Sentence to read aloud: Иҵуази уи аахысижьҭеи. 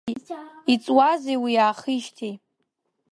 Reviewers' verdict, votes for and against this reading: rejected, 0, 2